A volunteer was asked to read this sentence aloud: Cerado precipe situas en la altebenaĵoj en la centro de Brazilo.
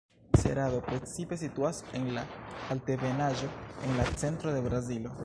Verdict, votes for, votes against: rejected, 1, 3